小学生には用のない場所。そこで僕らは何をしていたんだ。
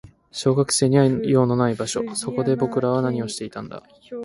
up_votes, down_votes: 2, 0